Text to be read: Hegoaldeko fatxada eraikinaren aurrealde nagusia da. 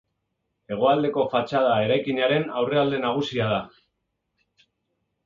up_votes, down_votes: 2, 0